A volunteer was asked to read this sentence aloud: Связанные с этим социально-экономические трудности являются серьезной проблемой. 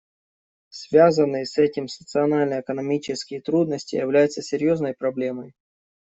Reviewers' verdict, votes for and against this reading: rejected, 1, 2